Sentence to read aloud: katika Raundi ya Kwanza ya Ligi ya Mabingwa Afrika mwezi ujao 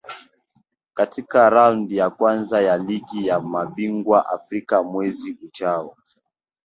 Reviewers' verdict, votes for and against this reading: rejected, 0, 2